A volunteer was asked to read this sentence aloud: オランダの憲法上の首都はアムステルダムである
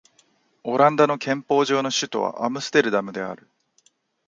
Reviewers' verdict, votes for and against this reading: accepted, 3, 0